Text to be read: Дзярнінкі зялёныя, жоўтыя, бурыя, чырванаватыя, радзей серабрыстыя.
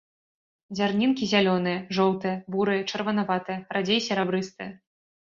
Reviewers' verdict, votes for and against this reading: accepted, 2, 0